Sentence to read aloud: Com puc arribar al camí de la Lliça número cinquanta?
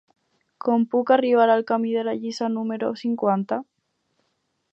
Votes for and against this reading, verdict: 4, 0, accepted